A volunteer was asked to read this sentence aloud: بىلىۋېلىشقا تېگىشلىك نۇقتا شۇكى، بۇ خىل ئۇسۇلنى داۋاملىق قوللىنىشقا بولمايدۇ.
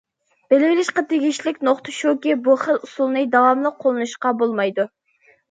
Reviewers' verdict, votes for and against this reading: accepted, 2, 0